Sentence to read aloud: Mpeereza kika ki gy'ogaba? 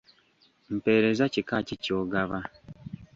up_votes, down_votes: 0, 2